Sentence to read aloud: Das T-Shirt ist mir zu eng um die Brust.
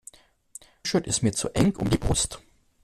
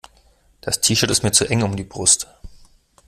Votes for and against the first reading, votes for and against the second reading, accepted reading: 0, 2, 2, 0, second